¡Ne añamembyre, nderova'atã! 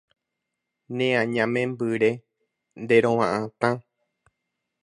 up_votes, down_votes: 2, 0